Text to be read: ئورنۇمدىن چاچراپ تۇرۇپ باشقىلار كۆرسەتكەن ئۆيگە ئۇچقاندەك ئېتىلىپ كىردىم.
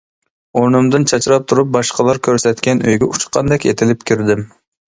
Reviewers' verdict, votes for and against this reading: accepted, 2, 0